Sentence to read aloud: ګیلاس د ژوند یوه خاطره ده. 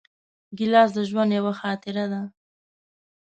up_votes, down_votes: 2, 0